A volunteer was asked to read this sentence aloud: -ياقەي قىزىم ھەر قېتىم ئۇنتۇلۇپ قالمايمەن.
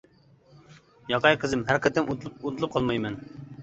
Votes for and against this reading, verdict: 0, 2, rejected